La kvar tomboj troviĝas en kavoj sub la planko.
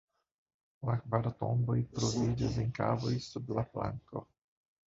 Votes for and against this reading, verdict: 0, 2, rejected